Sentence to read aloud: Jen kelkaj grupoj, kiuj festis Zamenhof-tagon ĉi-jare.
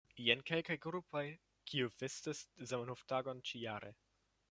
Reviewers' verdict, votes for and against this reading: rejected, 0, 2